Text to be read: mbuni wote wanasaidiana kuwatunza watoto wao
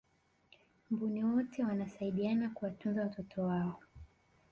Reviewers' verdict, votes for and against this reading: accepted, 2, 1